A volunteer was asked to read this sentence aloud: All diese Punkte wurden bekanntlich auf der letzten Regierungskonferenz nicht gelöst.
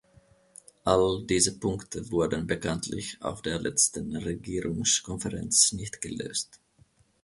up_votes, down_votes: 2, 0